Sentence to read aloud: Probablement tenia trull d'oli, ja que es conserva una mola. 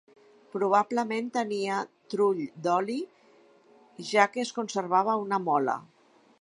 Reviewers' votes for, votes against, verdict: 0, 2, rejected